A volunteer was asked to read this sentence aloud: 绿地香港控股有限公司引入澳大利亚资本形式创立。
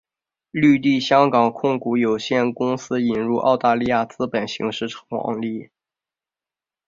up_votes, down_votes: 2, 0